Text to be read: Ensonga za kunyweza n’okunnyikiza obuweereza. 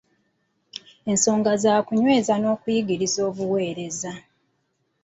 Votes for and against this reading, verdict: 1, 2, rejected